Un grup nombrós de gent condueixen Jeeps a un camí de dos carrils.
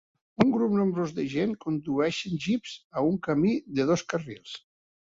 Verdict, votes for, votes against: accepted, 3, 0